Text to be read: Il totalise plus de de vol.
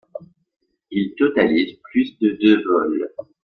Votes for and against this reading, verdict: 1, 2, rejected